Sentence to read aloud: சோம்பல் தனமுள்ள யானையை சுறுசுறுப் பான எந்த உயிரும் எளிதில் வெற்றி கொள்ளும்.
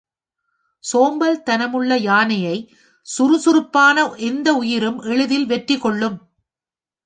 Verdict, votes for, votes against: accepted, 2, 0